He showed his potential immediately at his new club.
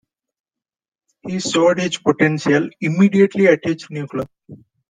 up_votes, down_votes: 2, 0